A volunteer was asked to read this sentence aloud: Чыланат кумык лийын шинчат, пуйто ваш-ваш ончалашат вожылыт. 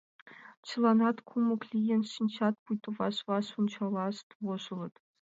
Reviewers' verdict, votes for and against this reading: rejected, 1, 2